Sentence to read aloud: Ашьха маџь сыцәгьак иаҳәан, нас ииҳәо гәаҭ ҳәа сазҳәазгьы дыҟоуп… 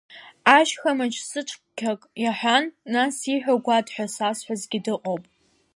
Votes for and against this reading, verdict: 0, 2, rejected